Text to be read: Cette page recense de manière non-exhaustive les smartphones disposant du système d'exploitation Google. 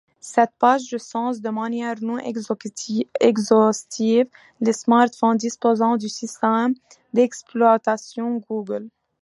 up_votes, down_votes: 0, 2